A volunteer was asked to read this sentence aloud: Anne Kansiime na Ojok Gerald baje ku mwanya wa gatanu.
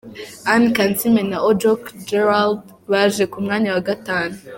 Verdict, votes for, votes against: accepted, 2, 0